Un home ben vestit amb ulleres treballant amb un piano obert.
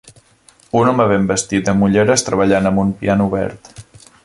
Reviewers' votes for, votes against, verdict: 3, 0, accepted